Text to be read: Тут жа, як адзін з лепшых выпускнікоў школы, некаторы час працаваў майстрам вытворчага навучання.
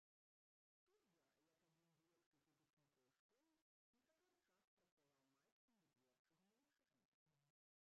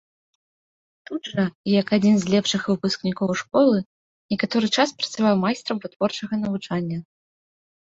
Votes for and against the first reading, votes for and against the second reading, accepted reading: 0, 2, 2, 0, second